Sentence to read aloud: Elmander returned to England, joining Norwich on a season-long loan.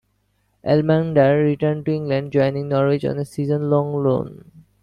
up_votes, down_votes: 2, 0